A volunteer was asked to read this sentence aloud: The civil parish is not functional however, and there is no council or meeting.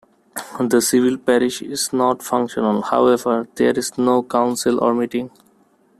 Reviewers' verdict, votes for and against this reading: rejected, 0, 2